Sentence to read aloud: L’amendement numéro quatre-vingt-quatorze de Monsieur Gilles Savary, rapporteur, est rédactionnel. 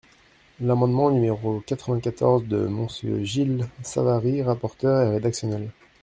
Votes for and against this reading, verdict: 1, 2, rejected